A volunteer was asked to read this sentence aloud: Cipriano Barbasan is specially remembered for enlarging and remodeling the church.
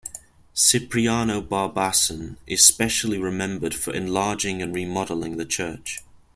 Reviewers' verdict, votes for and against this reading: accepted, 2, 0